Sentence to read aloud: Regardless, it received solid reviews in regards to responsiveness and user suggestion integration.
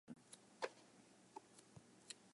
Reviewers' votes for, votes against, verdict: 0, 2, rejected